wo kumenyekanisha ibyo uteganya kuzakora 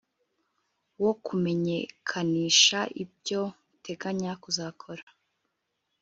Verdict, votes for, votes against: accepted, 2, 0